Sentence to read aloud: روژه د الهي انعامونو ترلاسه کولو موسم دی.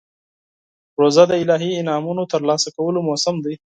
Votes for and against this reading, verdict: 4, 0, accepted